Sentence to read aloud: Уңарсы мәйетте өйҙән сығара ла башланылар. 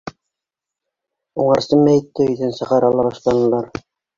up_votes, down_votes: 2, 0